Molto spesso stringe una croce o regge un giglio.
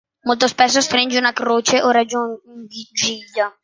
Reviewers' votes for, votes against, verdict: 0, 2, rejected